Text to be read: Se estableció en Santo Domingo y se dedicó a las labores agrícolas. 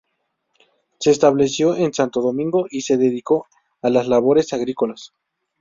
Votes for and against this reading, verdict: 4, 0, accepted